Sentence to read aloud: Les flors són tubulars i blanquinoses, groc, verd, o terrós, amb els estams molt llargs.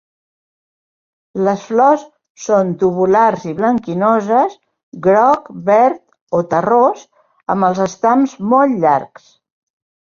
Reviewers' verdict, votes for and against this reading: accepted, 2, 0